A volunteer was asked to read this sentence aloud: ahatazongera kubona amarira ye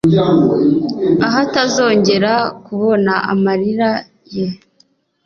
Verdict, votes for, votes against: accepted, 2, 0